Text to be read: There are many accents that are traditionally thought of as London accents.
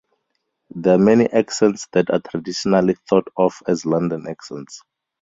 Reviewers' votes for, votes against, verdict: 2, 4, rejected